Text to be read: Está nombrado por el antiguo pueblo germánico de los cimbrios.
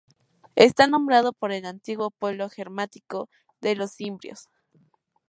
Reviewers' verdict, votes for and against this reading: rejected, 0, 2